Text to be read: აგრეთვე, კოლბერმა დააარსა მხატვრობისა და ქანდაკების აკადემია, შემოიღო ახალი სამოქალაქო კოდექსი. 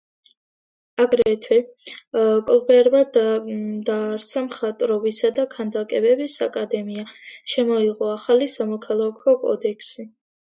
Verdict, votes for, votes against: accepted, 2, 1